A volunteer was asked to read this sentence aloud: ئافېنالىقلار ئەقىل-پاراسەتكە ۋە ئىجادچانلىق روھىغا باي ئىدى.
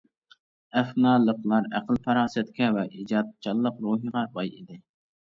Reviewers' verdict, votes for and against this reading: rejected, 0, 2